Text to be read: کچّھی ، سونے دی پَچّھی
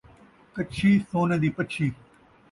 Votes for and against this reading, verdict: 2, 0, accepted